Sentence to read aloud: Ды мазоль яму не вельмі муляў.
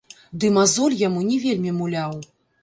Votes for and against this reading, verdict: 1, 2, rejected